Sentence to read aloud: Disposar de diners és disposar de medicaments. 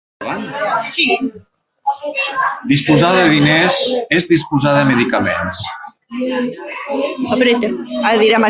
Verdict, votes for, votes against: rejected, 1, 2